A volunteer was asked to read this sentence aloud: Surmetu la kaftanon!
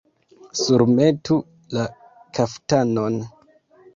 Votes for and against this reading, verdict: 1, 2, rejected